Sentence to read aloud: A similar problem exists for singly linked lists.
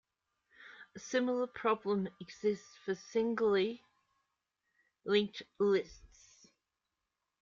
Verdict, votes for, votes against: accepted, 2, 0